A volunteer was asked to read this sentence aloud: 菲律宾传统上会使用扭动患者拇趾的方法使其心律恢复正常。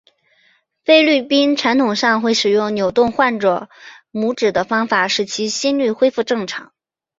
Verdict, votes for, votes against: accepted, 7, 1